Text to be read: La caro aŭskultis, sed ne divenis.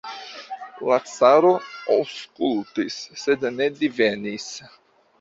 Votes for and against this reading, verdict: 2, 0, accepted